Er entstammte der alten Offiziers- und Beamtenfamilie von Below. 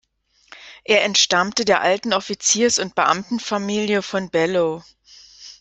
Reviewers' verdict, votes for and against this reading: rejected, 1, 2